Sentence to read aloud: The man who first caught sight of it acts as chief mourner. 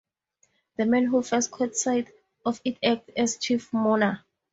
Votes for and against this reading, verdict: 4, 0, accepted